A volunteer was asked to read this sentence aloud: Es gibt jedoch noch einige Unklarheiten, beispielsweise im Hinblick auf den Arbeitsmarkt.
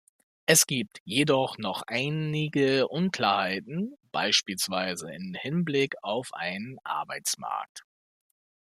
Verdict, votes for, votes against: rejected, 0, 2